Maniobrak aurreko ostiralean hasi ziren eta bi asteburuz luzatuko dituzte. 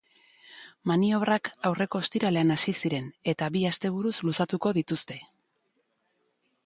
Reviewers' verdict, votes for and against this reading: accepted, 2, 0